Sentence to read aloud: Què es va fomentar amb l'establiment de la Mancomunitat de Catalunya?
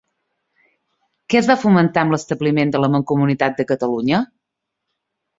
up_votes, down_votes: 3, 0